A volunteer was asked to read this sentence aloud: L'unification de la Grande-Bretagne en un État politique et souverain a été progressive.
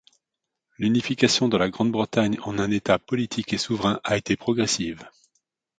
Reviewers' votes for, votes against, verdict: 2, 0, accepted